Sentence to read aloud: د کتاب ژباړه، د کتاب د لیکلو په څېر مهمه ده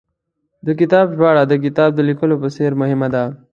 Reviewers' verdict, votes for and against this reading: accepted, 2, 0